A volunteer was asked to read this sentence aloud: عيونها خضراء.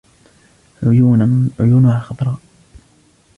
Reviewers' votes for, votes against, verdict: 1, 2, rejected